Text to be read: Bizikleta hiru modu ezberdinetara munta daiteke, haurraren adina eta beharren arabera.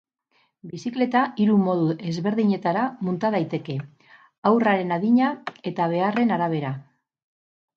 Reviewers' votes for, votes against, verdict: 0, 2, rejected